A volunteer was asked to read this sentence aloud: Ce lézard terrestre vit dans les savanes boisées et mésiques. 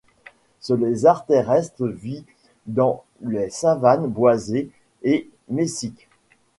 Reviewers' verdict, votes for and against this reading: rejected, 1, 2